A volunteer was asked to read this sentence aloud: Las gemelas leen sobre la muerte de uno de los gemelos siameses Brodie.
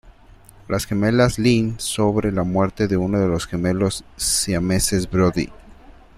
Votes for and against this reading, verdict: 1, 2, rejected